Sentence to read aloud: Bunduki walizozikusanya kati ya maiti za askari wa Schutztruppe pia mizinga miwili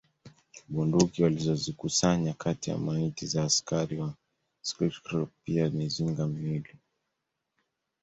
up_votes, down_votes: 2, 0